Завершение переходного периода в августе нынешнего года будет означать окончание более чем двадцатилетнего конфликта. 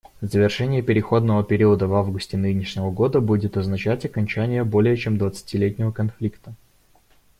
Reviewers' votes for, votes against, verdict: 2, 0, accepted